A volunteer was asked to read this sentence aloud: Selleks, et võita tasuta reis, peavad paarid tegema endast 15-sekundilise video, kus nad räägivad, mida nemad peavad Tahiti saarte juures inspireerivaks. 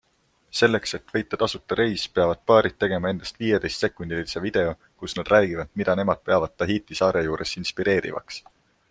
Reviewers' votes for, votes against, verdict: 0, 2, rejected